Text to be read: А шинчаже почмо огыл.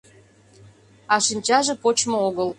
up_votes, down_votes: 2, 0